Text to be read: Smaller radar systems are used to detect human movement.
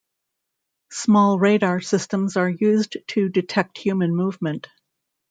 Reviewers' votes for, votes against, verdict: 1, 2, rejected